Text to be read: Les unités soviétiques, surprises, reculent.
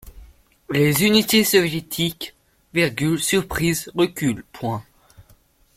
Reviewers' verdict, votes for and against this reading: rejected, 1, 3